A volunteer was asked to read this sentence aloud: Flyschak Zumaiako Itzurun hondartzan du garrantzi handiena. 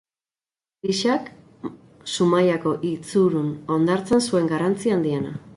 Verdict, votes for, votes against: rejected, 2, 2